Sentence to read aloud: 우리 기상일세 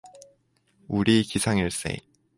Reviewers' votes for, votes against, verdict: 4, 0, accepted